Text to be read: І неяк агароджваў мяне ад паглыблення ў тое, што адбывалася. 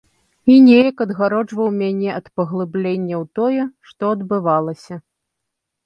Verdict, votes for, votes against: rejected, 1, 2